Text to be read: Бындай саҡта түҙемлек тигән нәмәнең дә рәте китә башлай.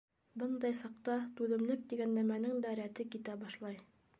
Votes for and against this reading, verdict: 2, 0, accepted